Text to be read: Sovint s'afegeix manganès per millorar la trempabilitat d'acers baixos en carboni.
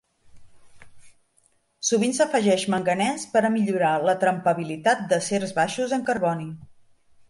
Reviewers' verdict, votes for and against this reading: rejected, 1, 2